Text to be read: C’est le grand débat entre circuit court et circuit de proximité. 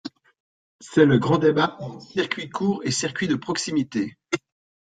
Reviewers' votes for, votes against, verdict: 1, 2, rejected